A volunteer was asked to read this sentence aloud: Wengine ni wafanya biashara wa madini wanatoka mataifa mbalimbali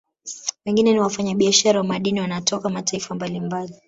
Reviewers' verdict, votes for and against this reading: accepted, 2, 0